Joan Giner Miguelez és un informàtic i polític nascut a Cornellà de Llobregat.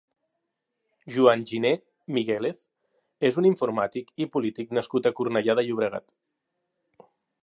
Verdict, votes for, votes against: accepted, 3, 0